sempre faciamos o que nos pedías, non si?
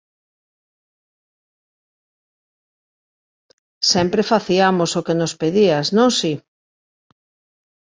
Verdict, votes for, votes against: rejected, 0, 2